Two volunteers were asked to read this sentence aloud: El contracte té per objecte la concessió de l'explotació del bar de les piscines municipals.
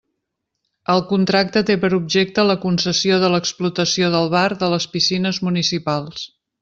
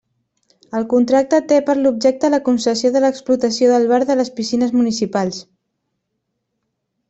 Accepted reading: first